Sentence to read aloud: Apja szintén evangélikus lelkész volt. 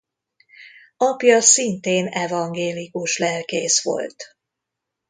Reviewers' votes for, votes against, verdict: 2, 0, accepted